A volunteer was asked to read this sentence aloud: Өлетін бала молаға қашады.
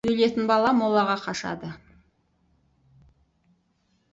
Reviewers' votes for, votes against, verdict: 4, 0, accepted